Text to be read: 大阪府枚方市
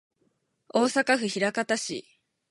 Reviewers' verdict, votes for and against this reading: accepted, 6, 0